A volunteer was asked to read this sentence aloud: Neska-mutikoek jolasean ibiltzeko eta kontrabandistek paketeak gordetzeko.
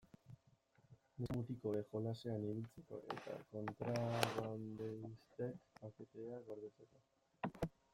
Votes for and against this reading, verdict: 0, 2, rejected